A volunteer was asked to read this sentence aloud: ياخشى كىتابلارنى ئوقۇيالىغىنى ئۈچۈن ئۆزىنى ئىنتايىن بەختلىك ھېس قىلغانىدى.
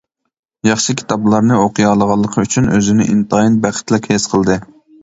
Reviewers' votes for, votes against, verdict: 0, 2, rejected